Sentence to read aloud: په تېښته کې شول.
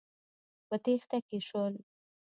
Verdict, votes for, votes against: accepted, 2, 1